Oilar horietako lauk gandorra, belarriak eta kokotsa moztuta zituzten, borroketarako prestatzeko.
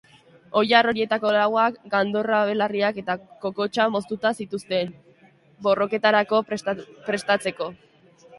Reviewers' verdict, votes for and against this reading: rejected, 1, 2